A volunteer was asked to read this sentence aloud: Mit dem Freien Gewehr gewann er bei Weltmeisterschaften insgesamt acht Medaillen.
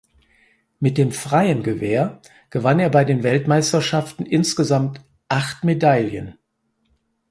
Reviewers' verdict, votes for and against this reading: rejected, 2, 4